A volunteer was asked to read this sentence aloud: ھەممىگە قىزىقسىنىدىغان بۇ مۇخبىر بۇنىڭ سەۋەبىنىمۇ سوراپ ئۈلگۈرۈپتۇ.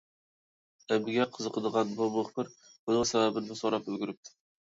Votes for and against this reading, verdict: 1, 2, rejected